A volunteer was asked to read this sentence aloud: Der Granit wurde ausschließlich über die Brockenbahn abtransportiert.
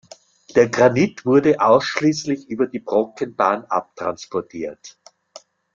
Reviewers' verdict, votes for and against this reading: accepted, 2, 0